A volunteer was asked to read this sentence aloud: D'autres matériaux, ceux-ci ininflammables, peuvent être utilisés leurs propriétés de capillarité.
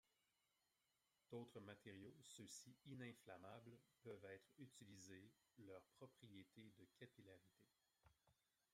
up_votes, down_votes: 2, 1